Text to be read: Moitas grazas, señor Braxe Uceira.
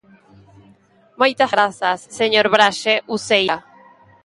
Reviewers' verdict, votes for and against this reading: rejected, 1, 2